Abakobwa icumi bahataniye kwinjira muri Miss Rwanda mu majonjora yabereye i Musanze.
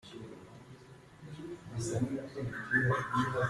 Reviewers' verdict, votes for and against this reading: rejected, 0, 2